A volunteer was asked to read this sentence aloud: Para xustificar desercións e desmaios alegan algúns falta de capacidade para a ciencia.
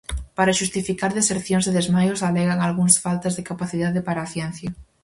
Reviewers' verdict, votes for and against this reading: rejected, 2, 2